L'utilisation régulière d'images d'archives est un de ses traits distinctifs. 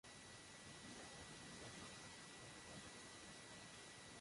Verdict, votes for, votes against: rejected, 0, 2